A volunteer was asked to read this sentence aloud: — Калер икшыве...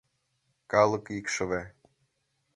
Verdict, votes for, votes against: rejected, 0, 2